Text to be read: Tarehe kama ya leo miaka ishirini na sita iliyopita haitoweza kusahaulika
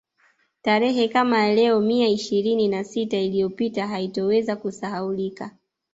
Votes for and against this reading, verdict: 1, 2, rejected